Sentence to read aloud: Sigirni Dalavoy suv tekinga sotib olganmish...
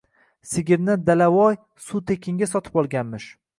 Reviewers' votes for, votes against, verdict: 2, 0, accepted